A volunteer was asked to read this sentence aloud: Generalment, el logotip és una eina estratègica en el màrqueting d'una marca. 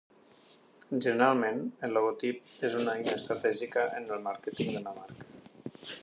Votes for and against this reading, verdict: 4, 0, accepted